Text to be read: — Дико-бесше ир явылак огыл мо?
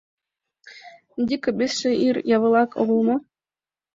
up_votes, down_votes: 2, 0